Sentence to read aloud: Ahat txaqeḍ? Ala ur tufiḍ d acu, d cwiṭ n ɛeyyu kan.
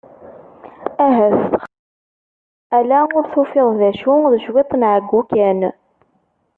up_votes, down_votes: 0, 2